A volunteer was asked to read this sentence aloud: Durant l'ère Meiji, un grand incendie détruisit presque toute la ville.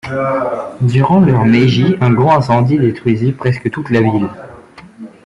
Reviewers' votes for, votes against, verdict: 0, 2, rejected